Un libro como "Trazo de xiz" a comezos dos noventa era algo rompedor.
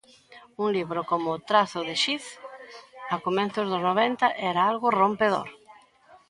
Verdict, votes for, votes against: rejected, 1, 2